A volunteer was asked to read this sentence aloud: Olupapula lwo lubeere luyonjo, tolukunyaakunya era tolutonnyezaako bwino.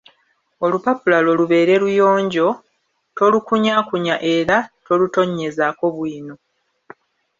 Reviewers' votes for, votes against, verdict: 1, 2, rejected